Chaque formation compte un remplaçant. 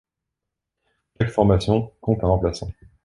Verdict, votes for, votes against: rejected, 0, 2